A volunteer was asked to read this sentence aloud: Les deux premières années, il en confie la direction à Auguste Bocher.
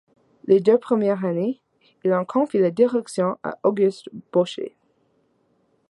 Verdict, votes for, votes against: accepted, 2, 0